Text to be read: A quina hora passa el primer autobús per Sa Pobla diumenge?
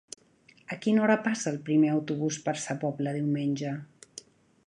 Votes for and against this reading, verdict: 4, 0, accepted